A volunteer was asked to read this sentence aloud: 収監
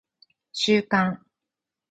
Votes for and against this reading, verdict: 4, 2, accepted